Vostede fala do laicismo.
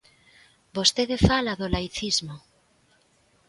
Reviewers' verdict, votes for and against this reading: accepted, 2, 0